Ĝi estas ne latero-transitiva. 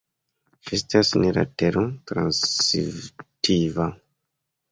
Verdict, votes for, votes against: accepted, 2, 0